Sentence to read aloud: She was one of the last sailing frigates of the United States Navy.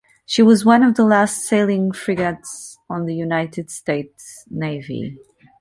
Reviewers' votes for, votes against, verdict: 0, 2, rejected